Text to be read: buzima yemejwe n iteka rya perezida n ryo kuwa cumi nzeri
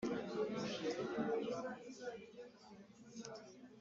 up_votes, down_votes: 0, 2